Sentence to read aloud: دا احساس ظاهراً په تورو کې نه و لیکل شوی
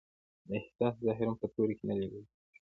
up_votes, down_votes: 1, 2